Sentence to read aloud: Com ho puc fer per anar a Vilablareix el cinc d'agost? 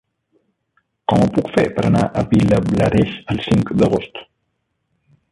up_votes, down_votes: 0, 2